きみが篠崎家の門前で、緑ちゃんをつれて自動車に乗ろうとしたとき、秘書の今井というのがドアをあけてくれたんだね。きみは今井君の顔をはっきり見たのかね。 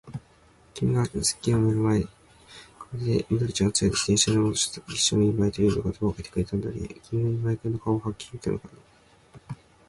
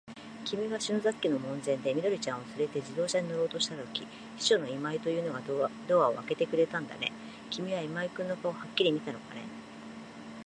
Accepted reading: second